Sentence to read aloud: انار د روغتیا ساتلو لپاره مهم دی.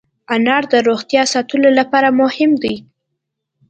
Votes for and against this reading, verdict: 2, 0, accepted